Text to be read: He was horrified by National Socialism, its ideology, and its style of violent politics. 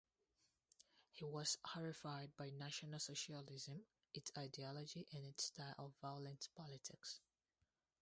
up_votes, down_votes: 0, 2